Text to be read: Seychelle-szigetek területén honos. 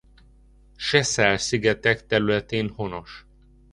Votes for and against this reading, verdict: 1, 2, rejected